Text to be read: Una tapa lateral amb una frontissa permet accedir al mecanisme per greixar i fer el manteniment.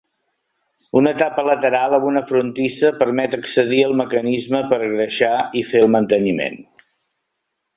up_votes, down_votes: 3, 0